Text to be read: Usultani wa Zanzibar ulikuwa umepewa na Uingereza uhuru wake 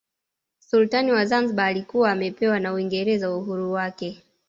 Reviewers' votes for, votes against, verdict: 2, 0, accepted